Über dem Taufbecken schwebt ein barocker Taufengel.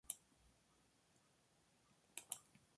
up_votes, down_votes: 0, 2